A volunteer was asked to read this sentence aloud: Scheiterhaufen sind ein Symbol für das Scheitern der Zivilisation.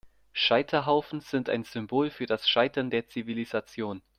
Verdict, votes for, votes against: accepted, 2, 0